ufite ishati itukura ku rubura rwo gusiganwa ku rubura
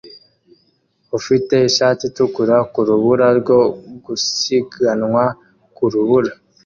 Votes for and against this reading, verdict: 2, 0, accepted